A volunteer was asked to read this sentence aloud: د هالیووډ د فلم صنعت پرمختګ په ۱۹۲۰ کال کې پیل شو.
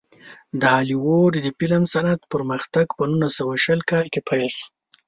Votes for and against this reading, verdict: 0, 2, rejected